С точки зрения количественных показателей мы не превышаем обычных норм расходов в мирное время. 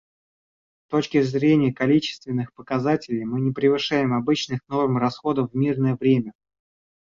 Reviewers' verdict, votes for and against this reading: rejected, 1, 2